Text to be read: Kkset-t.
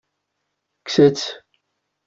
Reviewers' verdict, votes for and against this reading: rejected, 1, 2